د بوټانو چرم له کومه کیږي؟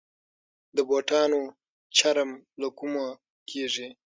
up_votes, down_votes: 0, 6